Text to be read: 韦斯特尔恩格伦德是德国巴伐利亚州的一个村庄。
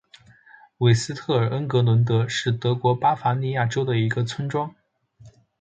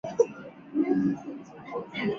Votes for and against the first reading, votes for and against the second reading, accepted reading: 2, 1, 3, 4, first